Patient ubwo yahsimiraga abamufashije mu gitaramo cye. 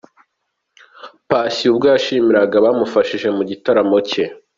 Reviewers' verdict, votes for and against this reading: accepted, 2, 0